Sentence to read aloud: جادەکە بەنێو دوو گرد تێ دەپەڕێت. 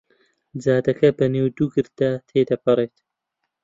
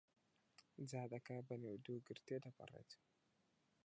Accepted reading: first